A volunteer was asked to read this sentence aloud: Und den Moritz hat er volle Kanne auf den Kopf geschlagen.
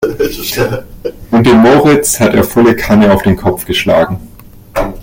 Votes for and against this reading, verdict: 0, 2, rejected